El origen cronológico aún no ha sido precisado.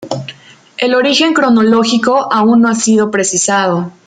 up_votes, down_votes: 2, 0